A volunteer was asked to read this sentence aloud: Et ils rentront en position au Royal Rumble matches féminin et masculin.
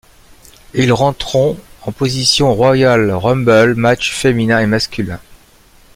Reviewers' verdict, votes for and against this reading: rejected, 1, 2